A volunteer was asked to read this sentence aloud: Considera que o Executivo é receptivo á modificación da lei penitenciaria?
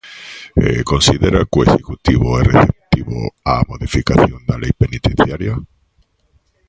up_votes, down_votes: 1, 2